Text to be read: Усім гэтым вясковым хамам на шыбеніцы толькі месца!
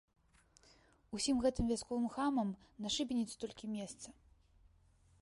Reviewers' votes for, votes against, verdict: 2, 0, accepted